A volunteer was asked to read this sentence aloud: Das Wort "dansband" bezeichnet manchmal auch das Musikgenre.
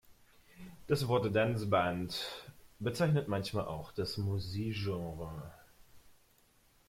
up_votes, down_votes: 0, 2